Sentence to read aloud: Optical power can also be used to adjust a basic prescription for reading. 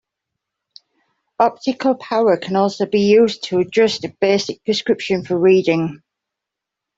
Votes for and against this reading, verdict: 2, 0, accepted